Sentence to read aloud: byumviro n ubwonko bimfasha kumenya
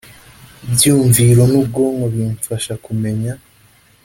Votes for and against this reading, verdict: 2, 0, accepted